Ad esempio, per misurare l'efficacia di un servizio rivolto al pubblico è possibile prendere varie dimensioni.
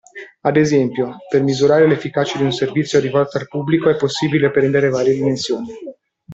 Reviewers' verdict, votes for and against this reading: rejected, 1, 2